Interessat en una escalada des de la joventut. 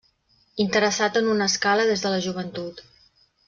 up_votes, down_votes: 0, 2